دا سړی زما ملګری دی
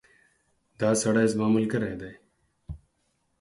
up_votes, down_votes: 4, 0